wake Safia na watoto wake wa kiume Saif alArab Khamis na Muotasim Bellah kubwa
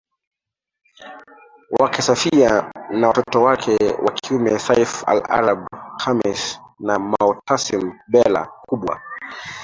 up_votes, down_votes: 1, 2